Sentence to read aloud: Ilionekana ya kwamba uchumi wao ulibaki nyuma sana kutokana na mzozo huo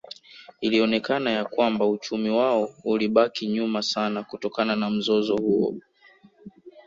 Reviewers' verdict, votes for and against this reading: rejected, 0, 2